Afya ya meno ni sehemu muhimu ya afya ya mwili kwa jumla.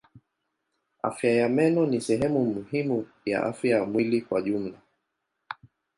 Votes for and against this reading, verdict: 2, 0, accepted